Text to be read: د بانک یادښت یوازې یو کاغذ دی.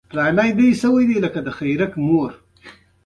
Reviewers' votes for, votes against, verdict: 2, 1, accepted